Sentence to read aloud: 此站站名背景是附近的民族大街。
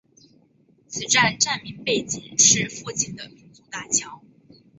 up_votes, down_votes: 1, 3